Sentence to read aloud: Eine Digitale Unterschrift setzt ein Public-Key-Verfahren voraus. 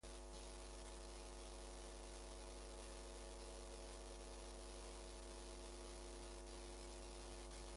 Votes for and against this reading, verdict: 0, 2, rejected